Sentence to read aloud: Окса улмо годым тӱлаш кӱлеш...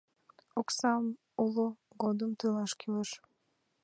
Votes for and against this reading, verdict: 3, 4, rejected